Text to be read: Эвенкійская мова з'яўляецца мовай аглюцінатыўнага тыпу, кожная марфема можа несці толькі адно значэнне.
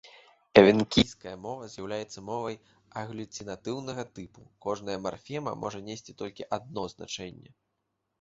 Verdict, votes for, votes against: accepted, 2, 1